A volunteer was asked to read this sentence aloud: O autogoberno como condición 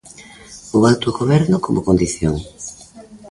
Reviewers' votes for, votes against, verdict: 2, 0, accepted